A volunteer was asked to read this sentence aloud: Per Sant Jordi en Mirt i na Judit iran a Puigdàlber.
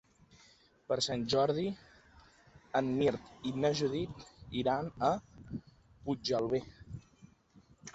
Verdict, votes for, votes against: rejected, 1, 2